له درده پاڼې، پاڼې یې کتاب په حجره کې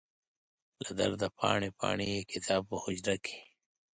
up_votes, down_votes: 2, 0